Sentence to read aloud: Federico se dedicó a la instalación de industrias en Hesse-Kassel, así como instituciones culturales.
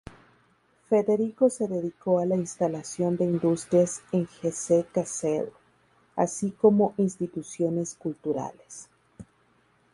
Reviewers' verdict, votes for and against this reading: rejected, 0, 2